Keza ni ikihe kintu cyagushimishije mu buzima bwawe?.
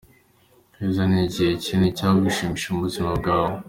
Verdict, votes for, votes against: accepted, 2, 0